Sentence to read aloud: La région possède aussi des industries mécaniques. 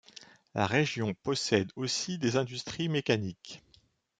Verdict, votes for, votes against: accepted, 2, 0